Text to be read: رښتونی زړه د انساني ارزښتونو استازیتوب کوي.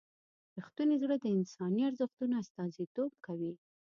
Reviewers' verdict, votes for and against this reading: rejected, 1, 2